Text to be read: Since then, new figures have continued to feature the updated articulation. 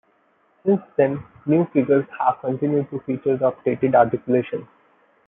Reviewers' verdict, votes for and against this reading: accepted, 2, 1